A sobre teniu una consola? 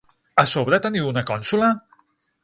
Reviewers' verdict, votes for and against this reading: rejected, 3, 6